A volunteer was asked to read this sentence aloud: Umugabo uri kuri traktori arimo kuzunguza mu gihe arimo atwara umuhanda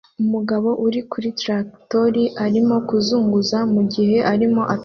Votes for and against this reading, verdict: 0, 2, rejected